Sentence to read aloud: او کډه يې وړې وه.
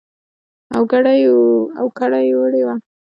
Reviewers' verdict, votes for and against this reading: rejected, 0, 2